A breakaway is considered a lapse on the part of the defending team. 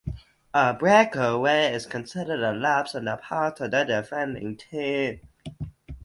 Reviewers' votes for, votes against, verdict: 0, 2, rejected